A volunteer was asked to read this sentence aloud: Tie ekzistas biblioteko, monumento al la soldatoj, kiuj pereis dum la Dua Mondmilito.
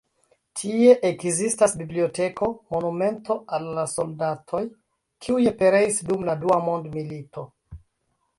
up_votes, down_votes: 2, 1